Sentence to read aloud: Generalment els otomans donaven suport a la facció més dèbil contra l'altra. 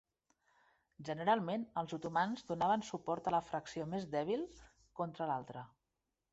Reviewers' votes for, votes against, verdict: 2, 0, accepted